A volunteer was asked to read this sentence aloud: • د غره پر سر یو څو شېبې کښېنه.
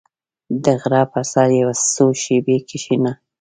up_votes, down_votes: 2, 0